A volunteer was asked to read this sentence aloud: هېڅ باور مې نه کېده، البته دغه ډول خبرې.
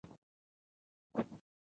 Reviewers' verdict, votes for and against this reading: rejected, 0, 2